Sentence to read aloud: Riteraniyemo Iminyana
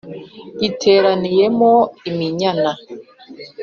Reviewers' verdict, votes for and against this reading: accepted, 4, 0